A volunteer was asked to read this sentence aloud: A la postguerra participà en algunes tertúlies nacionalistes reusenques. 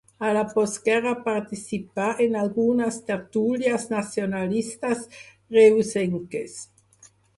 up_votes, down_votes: 4, 0